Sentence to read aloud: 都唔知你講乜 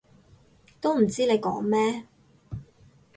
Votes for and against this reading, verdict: 0, 6, rejected